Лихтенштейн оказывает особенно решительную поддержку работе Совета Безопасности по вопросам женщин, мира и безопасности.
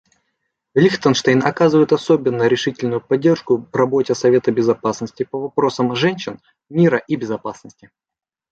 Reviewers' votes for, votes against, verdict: 2, 0, accepted